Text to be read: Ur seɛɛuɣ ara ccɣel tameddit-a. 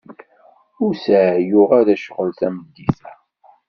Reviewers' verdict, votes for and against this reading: rejected, 0, 2